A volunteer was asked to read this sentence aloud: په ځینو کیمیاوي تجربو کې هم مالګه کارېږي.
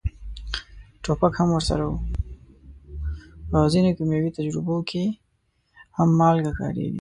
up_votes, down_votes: 1, 2